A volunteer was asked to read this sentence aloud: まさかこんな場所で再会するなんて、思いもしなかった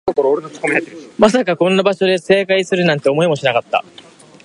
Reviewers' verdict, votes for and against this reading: rejected, 1, 2